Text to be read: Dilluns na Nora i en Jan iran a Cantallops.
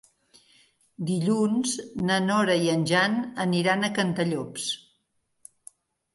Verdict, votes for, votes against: rejected, 1, 3